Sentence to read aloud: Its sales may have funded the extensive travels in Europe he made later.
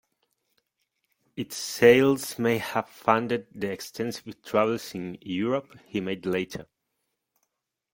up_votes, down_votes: 2, 0